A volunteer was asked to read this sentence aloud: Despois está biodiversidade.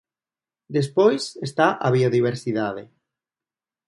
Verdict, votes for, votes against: rejected, 0, 2